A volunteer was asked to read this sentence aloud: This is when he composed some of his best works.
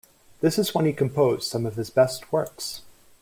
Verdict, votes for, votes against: accepted, 2, 1